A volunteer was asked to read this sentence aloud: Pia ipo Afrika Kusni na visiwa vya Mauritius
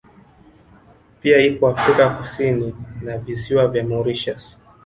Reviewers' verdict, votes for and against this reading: rejected, 1, 2